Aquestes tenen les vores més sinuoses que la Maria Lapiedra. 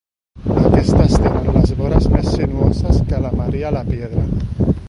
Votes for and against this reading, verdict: 1, 2, rejected